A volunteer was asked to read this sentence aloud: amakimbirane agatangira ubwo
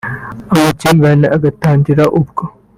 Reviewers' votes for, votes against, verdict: 4, 0, accepted